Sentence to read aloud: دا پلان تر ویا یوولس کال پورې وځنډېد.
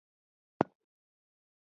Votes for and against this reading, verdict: 1, 2, rejected